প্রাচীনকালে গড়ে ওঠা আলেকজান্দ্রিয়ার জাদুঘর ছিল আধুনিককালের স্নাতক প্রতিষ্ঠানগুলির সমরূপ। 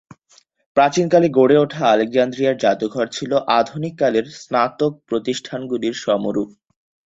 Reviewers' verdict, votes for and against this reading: accepted, 34, 0